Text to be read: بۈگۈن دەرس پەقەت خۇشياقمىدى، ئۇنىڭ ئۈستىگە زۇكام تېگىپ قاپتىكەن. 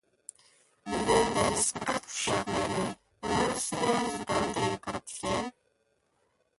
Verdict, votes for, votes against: rejected, 0, 2